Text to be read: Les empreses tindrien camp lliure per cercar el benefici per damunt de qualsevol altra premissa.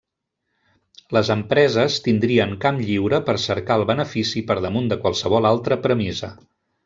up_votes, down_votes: 1, 3